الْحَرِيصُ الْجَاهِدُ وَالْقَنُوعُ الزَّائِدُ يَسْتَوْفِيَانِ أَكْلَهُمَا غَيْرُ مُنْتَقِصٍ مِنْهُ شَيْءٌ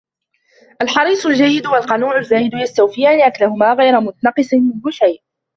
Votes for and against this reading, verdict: 0, 2, rejected